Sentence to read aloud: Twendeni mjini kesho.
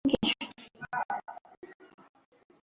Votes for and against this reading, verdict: 0, 2, rejected